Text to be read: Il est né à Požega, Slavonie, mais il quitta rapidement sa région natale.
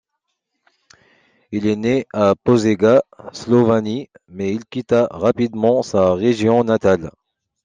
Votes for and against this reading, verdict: 1, 2, rejected